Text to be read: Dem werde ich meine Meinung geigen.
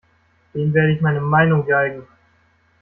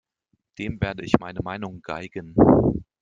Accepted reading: second